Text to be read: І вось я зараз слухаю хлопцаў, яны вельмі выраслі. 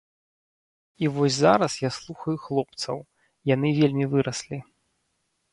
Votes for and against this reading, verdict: 1, 2, rejected